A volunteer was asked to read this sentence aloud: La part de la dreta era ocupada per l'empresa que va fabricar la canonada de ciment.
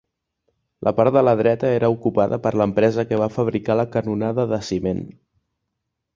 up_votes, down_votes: 4, 0